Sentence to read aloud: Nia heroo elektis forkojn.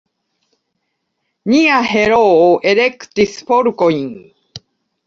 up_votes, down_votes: 2, 0